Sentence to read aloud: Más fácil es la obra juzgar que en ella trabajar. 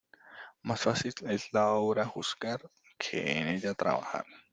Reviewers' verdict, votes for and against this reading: accepted, 2, 1